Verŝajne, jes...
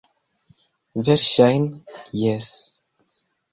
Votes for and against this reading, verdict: 0, 2, rejected